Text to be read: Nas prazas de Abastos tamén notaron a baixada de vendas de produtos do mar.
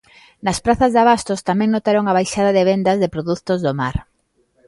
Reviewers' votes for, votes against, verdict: 1, 2, rejected